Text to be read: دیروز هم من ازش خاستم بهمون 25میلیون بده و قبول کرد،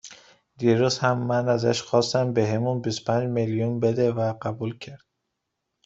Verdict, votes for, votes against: rejected, 0, 2